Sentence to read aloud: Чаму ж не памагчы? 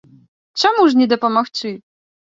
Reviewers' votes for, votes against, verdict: 1, 2, rejected